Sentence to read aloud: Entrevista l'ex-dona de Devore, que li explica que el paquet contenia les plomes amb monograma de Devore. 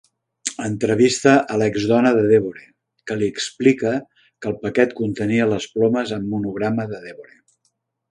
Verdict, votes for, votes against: rejected, 1, 2